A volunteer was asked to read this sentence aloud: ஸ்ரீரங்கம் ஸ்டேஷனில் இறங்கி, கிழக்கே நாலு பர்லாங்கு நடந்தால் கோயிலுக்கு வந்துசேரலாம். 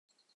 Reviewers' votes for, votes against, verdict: 0, 2, rejected